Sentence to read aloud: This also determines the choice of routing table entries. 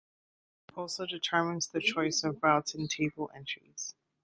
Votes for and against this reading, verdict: 2, 1, accepted